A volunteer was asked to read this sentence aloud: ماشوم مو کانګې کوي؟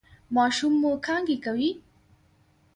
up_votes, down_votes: 0, 2